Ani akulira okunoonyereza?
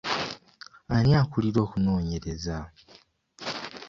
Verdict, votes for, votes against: accepted, 2, 0